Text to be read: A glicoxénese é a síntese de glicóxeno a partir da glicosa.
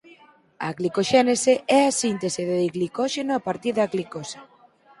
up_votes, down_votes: 4, 0